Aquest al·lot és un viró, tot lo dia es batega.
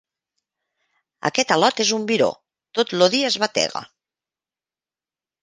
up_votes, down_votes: 2, 0